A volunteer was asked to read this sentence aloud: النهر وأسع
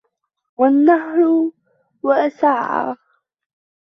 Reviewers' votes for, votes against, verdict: 1, 2, rejected